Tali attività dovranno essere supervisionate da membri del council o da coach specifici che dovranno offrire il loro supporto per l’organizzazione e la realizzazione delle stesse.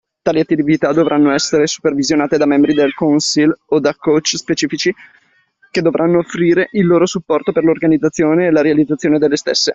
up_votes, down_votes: 2, 1